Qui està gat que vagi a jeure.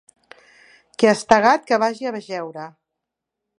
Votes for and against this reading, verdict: 1, 2, rejected